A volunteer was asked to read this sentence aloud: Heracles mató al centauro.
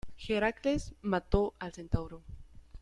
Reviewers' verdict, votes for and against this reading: rejected, 1, 2